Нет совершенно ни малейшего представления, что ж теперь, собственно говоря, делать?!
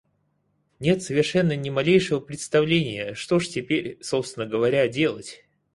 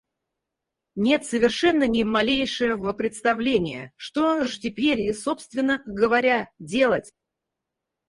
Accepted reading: first